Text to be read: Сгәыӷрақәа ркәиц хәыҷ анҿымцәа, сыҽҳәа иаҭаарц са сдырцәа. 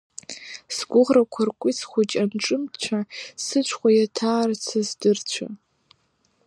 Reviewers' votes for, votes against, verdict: 2, 0, accepted